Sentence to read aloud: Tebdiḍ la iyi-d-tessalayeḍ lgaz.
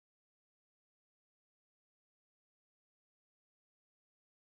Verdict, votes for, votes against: rejected, 0, 2